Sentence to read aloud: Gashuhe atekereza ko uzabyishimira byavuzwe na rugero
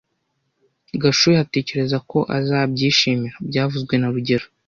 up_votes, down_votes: 0, 2